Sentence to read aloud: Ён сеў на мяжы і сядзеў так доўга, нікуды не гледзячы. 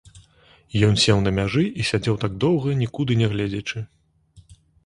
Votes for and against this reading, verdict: 2, 0, accepted